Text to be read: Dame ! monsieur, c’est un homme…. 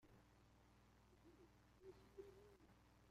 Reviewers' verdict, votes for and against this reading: rejected, 0, 2